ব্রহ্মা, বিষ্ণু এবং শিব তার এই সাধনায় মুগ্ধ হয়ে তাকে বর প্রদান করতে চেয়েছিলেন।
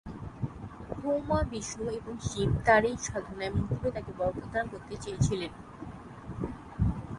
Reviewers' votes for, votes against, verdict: 0, 3, rejected